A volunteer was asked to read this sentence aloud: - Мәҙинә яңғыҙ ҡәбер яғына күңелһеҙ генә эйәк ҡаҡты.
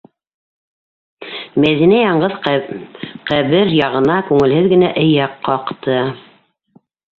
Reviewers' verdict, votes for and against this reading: rejected, 0, 2